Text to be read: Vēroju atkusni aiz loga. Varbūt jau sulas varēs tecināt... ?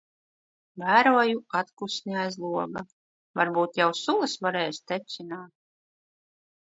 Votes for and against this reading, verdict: 2, 1, accepted